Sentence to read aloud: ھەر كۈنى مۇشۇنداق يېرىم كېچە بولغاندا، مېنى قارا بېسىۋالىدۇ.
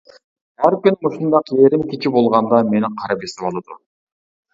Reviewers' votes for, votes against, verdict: 1, 2, rejected